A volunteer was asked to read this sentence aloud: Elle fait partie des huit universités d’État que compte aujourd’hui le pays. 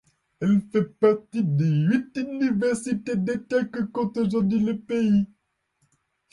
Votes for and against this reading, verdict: 2, 0, accepted